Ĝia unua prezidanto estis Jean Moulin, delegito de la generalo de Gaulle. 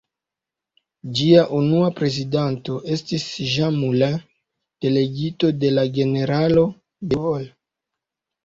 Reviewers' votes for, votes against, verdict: 0, 2, rejected